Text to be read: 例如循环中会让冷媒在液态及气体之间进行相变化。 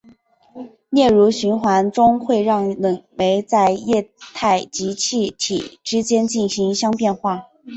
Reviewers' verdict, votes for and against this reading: accepted, 5, 1